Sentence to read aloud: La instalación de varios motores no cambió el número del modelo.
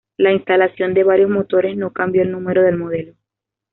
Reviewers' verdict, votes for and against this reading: accepted, 2, 0